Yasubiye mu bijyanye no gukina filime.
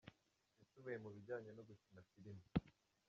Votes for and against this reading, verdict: 0, 2, rejected